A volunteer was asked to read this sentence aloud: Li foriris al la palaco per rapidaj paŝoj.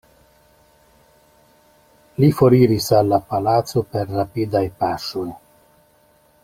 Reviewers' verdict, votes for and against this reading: rejected, 1, 2